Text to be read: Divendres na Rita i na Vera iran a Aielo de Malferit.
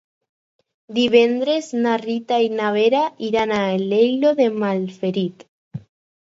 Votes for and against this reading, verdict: 2, 4, rejected